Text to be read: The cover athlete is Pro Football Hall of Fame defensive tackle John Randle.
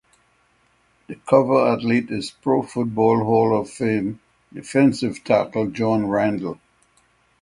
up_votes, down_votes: 6, 3